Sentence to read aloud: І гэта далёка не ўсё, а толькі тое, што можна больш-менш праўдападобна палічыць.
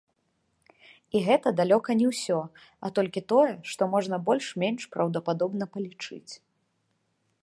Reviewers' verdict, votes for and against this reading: accepted, 2, 0